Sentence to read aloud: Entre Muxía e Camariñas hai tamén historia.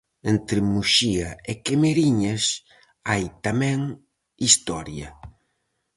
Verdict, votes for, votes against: rejected, 2, 2